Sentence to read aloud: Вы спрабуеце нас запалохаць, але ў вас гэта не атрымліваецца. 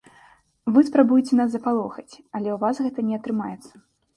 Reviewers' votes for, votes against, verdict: 0, 2, rejected